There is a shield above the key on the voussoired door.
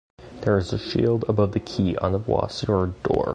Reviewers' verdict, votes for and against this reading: accepted, 2, 1